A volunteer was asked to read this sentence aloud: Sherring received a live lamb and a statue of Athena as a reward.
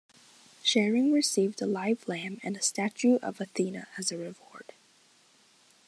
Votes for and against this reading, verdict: 2, 0, accepted